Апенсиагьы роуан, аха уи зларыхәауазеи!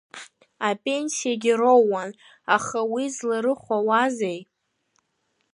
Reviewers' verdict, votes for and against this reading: accepted, 2, 0